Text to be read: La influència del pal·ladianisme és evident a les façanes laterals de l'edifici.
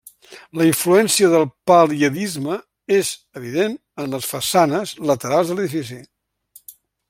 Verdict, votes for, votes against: rejected, 0, 2